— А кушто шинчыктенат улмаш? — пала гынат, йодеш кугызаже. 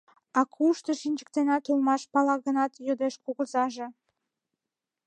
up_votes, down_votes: 2, 0